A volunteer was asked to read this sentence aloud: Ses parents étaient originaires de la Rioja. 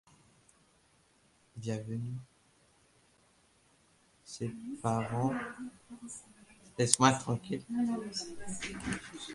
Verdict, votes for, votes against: rejected, 0, 2